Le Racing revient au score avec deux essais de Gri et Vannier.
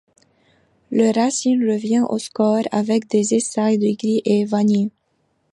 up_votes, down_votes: 1, 2